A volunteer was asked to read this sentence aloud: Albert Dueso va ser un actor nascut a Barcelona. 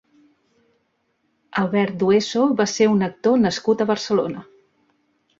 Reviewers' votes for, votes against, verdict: 3, 0, accepted